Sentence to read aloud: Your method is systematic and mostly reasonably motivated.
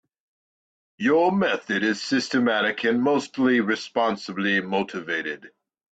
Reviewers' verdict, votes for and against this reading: rejected, 1, 2